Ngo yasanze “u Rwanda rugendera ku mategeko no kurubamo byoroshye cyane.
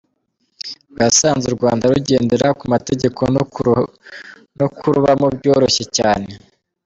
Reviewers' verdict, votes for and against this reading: rejected, 0, 2